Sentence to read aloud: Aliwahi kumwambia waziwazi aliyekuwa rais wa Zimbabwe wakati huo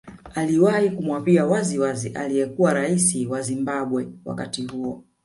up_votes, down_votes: 2, 0